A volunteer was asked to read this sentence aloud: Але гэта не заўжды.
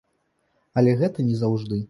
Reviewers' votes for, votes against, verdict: 2, 0, accepted